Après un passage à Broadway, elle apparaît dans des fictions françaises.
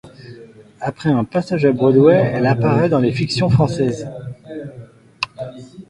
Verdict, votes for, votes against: rejected, 0, 2